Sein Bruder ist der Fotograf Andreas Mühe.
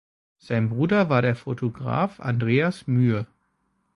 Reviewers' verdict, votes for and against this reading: rejected, 1, 2